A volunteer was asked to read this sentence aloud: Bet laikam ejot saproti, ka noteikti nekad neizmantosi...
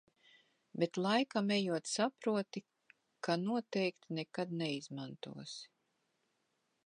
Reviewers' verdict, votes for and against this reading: accepted, 2, 0